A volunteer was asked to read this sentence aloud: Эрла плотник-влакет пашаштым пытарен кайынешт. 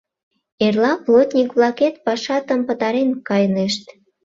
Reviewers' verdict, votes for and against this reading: rejected, 0, 2